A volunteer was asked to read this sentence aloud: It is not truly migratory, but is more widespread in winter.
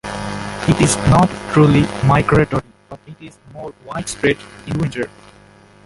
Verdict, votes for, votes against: rejected, 1, 2